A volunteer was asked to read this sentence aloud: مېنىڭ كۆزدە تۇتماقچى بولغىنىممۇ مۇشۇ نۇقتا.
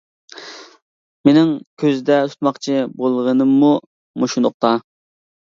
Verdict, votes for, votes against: accepted, 2, 0